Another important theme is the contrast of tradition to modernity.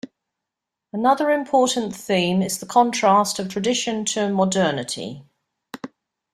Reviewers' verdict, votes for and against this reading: accepted, 2, 0